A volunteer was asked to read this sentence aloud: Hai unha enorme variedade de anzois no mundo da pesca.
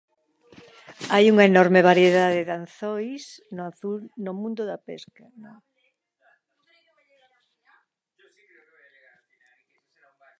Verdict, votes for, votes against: rejected, 1, 2